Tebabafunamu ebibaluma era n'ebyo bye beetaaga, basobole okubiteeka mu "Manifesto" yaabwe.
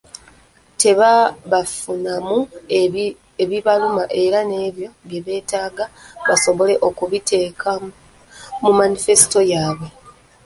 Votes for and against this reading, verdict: 0, 2, rejected